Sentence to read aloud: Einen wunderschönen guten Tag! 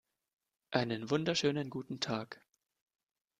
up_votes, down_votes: 2, 0